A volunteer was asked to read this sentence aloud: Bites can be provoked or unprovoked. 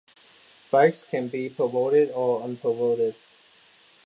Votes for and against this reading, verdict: 0, 2, rejected